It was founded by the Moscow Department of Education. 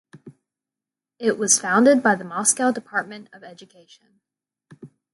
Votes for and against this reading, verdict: 0, 2, rejected